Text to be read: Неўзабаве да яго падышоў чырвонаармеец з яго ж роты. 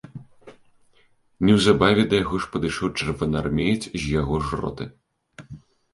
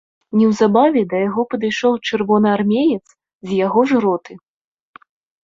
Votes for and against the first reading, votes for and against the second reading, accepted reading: 2, 3, 2, 0, second